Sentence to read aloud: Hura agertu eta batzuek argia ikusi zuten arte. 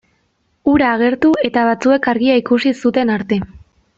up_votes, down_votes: 2, 1